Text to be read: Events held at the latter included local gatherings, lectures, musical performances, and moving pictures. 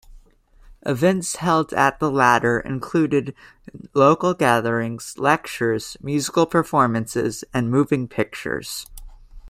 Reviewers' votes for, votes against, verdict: 2, 0, accepted